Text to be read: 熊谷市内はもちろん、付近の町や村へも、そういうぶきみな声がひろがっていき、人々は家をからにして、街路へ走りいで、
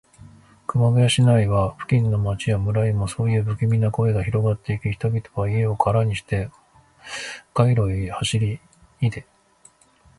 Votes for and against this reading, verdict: 0, 2, rejected